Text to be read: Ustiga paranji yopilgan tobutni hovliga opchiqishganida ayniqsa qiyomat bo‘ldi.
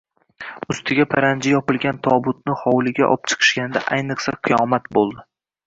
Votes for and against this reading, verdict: 2, 1, accepted